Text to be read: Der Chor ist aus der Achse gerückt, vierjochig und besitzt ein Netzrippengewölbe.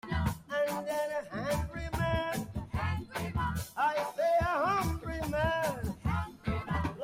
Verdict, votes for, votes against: rejected, 0, 2